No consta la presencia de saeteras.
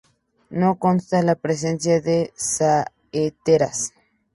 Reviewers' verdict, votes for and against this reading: accepted, 2, 0